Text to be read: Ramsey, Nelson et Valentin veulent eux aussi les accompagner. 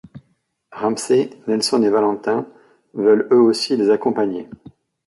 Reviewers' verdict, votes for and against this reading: accepted, 2, 0